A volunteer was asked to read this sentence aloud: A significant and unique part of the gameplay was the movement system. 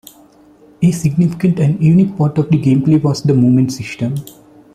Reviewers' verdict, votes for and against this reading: accepted, 2, 0